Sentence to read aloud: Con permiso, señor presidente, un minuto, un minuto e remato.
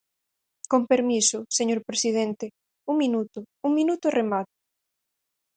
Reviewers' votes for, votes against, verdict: 0, 4, rejected